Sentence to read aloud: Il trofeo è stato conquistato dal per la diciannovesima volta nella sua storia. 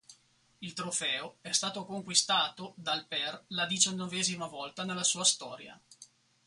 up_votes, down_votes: 4, 0